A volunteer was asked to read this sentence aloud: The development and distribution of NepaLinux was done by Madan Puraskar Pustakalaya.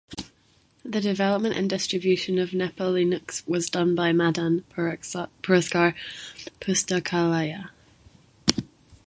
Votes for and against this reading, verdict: 0, 2, rejected